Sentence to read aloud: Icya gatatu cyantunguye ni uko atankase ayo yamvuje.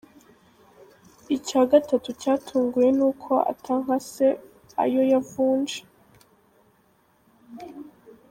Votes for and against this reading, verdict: 0, 3, rejected